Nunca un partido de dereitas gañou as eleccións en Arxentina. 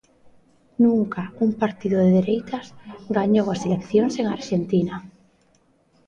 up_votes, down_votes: 1, 2